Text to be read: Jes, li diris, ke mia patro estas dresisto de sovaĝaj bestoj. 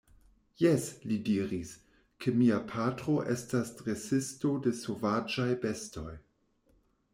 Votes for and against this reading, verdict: 2, 1, accepted